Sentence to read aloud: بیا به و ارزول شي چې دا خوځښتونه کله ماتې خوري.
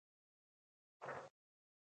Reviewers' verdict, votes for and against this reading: rejected, 1, 2